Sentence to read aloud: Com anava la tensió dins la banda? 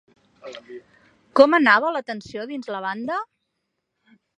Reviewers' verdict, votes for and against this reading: accepted, 2, 0